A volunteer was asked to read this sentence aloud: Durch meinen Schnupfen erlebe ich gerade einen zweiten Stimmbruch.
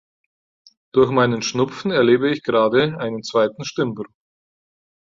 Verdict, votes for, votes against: rejected, 2, 4